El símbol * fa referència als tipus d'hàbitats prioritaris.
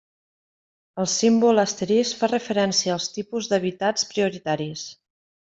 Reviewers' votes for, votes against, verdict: 0, 2, rejected